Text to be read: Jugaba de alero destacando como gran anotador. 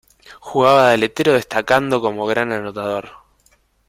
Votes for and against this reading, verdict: 0, 2, rejected